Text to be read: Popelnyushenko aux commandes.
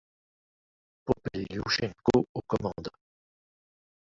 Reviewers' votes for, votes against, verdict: 1, 2, rejected